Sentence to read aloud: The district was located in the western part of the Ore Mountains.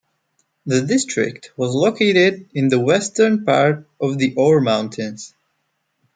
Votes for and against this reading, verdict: 2, 0, accepted